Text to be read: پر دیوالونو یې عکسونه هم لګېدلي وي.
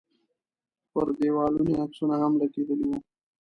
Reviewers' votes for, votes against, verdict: 1, 2, rejected